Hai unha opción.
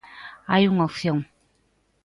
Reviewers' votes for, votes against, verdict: 2, 0, accepted